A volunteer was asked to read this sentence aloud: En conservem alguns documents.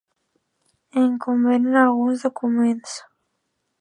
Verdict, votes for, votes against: rejected, 0, 2